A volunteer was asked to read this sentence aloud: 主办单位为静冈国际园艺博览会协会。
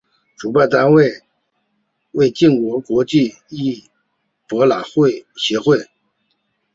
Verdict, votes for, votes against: rejected, 0, 2